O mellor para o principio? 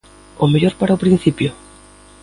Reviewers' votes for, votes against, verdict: 2, 0, accepted